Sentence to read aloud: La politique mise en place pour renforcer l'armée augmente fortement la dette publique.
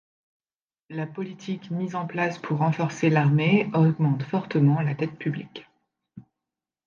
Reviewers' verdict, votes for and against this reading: accepted, 2, 0